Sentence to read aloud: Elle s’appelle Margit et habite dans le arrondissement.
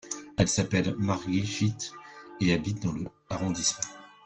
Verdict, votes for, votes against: accepted, 2, 0